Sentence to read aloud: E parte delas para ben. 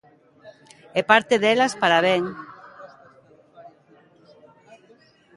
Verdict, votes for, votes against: accepted, 3, 0